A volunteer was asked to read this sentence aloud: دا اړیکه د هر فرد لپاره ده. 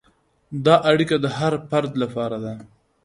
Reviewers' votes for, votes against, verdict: 2, 0, accepted